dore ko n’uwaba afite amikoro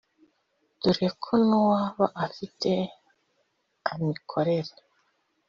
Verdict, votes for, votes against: rejected, 0, 2